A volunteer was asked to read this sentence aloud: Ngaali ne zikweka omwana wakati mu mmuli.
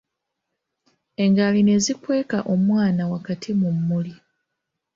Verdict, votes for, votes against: accepted, 2, 0